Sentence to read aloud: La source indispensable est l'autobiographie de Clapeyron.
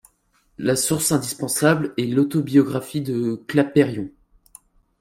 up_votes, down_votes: 1, 2